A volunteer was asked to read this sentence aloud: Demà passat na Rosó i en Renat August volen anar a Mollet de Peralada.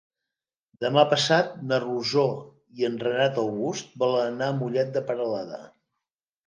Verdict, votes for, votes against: accepted, 3, 0